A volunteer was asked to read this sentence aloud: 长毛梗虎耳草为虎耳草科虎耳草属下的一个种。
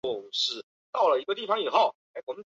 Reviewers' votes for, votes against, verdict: 0, 3, rejected